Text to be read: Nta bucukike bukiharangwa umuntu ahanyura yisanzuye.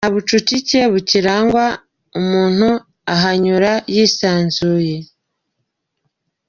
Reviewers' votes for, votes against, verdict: 0, 2, rejected